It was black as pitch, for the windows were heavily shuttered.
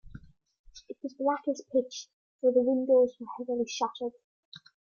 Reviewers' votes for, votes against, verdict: 2, 0, accepted